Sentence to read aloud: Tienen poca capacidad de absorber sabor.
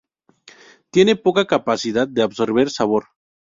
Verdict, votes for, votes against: rejected, 2, 2